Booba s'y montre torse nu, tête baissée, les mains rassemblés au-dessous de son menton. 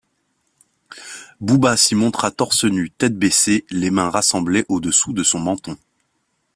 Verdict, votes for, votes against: rejected, 1, 2